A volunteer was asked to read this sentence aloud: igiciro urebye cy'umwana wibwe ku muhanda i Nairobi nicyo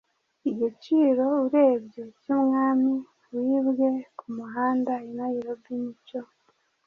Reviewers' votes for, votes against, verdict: 1, 2, rejected